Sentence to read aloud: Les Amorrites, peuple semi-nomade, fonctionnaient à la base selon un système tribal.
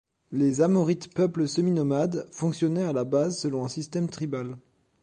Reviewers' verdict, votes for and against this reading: accepted, 2, 0